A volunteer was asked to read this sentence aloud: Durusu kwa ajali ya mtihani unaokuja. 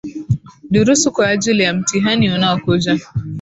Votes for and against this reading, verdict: 2, 0, accepted